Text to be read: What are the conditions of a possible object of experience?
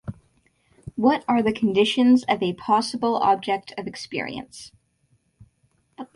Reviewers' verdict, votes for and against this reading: accepted, 2, 0